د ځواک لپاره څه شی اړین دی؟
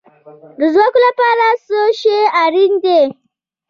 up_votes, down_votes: 2, 0